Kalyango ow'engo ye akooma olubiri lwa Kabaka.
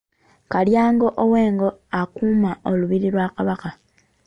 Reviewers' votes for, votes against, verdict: 1, 3, rejected